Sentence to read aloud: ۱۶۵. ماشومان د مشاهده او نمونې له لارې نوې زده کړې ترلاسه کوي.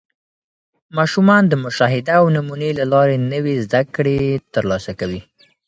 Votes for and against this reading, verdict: 0, 2, rejected